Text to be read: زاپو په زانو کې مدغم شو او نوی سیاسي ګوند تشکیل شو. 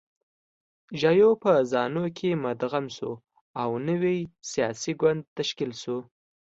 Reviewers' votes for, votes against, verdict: 3, 0, accepted